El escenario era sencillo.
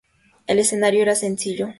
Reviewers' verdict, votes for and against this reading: accepted, 2, 0